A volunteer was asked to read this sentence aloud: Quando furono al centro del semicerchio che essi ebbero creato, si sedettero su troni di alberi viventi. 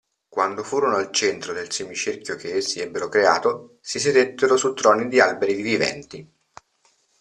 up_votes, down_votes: 2, 0